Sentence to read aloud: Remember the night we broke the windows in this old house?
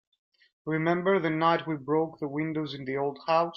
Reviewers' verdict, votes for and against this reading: rejected, 1, 2